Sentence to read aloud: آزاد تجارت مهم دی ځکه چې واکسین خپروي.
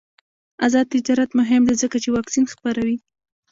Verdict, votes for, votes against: rejected, 1, 2